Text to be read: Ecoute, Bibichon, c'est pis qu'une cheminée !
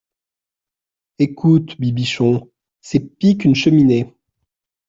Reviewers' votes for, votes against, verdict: 2, 0, accepted